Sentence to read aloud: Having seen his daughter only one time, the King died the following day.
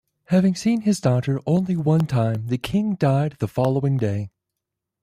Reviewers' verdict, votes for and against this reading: accepted, 2, 0